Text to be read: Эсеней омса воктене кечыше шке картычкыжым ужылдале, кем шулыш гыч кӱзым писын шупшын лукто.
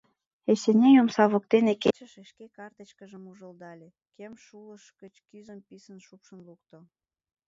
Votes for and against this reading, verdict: 0, 2, rejected